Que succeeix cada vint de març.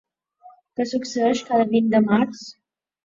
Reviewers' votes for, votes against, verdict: 1, 2, rejected